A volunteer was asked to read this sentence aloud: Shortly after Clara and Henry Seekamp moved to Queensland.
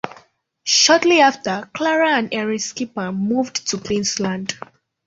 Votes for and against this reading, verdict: 0, 2, rejected